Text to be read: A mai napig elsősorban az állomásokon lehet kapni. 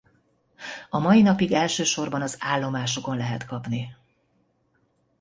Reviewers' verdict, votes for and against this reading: accepted, 2, 0